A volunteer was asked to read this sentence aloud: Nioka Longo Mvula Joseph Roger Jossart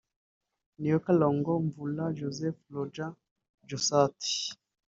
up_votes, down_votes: 1, 2